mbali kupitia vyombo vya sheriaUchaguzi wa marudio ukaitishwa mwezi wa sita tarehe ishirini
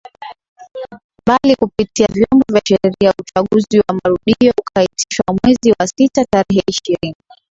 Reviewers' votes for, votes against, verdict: 0, 2, rejected